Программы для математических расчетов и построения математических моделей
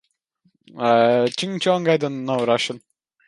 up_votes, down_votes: 0, 2